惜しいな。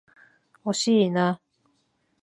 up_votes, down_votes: 15, 0